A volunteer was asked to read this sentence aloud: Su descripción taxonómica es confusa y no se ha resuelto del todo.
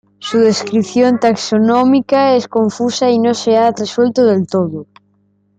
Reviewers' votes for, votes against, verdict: 2, 0, accepted